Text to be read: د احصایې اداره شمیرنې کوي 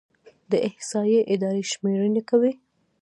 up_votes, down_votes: 2, 1